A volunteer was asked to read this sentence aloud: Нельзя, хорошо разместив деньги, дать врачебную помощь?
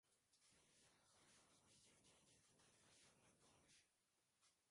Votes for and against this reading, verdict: 0, 2, rejected